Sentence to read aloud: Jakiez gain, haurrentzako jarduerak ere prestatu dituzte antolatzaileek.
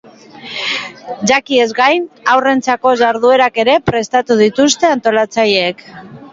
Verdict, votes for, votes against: accepted, 2, 0